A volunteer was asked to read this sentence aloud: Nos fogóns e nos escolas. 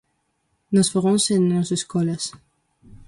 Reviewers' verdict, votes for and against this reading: accepted, 2, 0